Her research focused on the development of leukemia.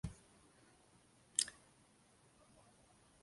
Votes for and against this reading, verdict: 0, 2, rejected